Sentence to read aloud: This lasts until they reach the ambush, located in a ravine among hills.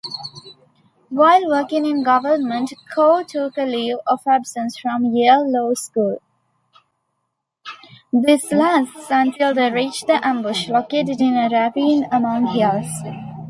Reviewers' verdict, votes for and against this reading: rejected, 0, 2